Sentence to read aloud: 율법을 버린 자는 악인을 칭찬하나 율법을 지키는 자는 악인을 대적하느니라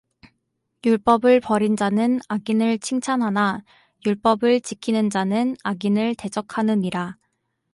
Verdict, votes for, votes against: accepted, 2, 0